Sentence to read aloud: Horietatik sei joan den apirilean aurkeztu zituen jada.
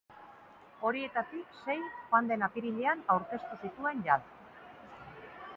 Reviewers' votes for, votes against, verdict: 2, 0, accepted